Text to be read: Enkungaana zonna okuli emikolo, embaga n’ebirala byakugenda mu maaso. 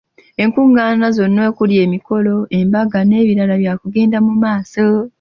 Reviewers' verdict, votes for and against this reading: accepted, 2, 0